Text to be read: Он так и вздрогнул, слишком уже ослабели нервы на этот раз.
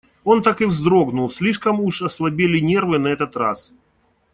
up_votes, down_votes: 2, 0